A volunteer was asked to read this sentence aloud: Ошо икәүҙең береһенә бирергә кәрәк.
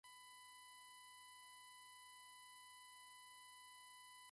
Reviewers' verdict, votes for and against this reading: rejected, 1, 2